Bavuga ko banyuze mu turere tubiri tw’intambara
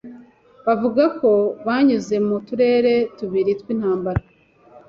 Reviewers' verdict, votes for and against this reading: accepted, 2, 0